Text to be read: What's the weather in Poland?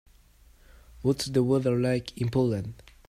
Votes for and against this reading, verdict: 0, 2, rejected